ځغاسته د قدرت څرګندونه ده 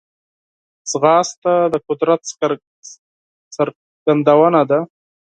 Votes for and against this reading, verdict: 4, 2, accepted